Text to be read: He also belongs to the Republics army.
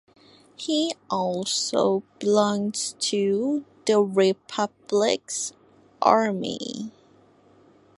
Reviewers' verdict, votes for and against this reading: accepted, 2, 0